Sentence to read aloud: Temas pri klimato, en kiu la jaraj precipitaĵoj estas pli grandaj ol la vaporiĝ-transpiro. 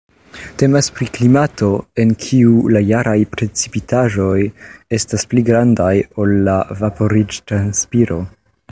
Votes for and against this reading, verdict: 2, 0, accepted